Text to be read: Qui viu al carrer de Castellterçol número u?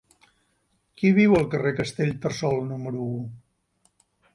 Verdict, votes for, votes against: rejected, 0, 2